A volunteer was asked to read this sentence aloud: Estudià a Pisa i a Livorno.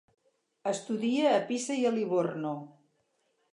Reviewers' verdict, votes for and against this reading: rejected, 0, 2